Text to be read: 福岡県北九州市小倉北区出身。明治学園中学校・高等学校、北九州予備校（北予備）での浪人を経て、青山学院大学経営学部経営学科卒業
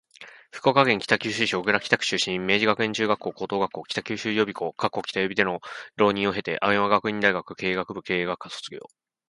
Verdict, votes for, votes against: accepted, 2, 0